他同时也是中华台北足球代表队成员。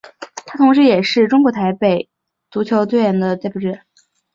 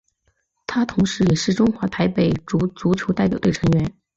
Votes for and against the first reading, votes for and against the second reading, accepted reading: 1, 2, 4, 0, second